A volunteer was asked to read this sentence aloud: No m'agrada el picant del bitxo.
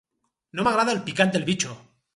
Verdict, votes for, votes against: accepted, 4, 0